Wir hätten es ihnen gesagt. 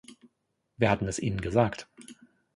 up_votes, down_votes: 0, 2